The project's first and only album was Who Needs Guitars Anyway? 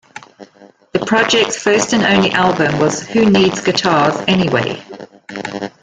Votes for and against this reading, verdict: 2, 1, accepted